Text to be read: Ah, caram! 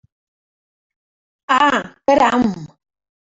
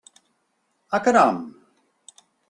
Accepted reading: second